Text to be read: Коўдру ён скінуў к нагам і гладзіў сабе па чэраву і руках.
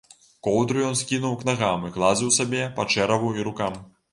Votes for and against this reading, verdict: 1, 2, rejected